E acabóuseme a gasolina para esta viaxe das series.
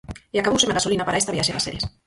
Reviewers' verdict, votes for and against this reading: rejected, 0, 4